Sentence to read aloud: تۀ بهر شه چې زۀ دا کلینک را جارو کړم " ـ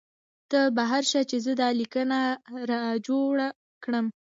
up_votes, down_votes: 2, 1